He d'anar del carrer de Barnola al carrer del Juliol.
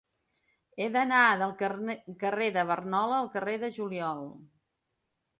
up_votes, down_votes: 2, 0